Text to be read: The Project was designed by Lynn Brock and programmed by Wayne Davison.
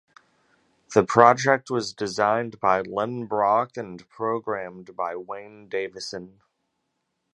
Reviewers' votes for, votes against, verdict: 2, 0, accepted